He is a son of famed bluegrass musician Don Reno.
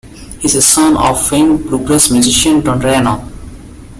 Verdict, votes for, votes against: rejected, 1, 2